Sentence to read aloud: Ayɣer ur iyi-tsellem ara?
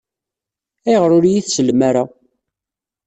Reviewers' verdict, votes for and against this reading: accepted, 2, 0